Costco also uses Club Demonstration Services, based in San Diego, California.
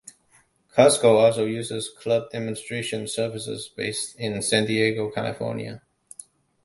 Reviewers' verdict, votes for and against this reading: accepted, 2, 0